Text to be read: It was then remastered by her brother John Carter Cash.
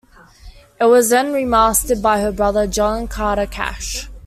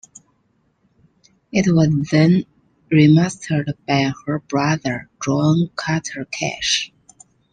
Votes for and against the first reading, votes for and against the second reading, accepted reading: 2, 0, 0, 2, first